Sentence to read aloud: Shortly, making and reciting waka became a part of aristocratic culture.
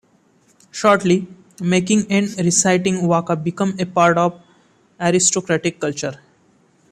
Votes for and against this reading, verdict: 2, 1, accepted